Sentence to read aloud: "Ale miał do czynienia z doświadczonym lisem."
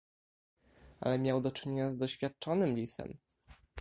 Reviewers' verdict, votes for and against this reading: accepted, 2, 0